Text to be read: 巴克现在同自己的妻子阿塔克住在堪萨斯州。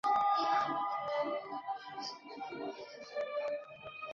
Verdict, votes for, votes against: rejected, 3, 4